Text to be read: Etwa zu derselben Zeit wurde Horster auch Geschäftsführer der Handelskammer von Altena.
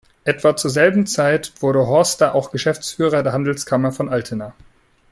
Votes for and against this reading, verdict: 0, 2, rejected